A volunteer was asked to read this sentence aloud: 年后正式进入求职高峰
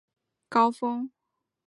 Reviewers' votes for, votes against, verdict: 1, 2, rejected